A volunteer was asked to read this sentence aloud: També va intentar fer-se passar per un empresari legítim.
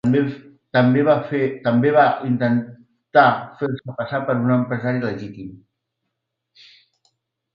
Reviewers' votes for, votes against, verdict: 0, 2, rejected